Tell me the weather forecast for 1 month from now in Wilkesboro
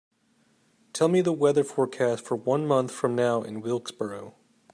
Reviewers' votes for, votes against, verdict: 0, 2, rejected